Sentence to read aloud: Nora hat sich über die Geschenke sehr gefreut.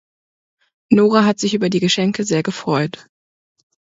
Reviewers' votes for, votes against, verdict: 2, 0, accepted